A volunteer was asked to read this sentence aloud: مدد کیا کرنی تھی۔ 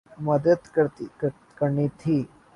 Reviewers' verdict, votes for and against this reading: rejected, 5, 5